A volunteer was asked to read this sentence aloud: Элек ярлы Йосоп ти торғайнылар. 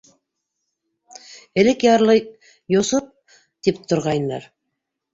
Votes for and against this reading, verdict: 0, 2, rejected